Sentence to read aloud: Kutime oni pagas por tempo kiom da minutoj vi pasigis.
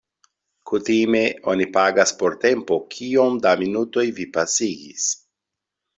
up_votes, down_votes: 2, 0